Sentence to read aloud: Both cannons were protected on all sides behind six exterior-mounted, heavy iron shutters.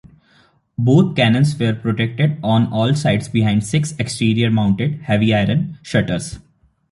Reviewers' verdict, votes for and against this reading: rejected, 0, 2